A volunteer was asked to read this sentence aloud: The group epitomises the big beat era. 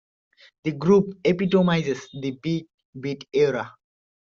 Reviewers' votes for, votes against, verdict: 2, 0, accepted